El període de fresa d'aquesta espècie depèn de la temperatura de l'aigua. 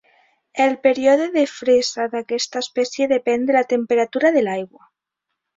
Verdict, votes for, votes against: accepted, 2, 0